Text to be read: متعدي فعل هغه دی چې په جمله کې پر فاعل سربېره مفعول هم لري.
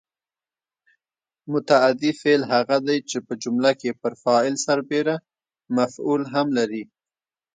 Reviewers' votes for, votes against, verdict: 2, 0, accepted